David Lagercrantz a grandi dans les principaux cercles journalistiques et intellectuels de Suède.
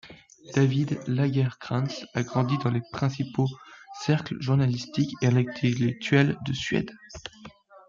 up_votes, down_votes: 1, 2